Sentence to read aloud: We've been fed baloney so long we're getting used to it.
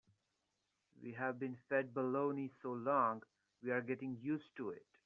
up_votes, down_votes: 1, 2